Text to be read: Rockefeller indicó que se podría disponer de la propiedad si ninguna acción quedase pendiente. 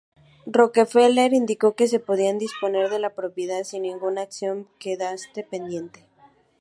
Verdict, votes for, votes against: accepted, 4, 2